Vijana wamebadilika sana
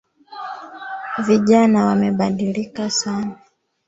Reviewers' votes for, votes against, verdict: 1, 2, rejected